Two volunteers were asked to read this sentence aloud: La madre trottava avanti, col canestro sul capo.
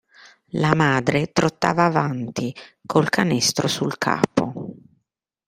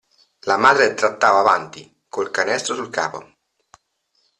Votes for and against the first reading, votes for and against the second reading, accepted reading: 2, 0, 1, 2, first